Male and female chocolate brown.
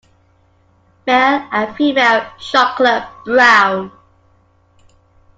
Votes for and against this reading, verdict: 2, 1, accepted